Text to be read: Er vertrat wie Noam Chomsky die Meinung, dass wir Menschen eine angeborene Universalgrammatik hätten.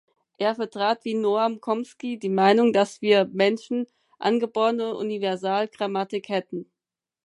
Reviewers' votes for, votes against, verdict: 0, 4, rejected